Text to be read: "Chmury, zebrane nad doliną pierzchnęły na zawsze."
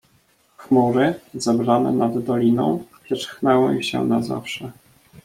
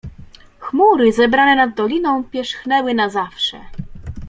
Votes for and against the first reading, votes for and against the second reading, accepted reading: 0, 2, 2, 0, second